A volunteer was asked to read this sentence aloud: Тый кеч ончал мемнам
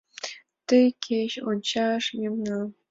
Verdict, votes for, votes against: rejected, 0, 2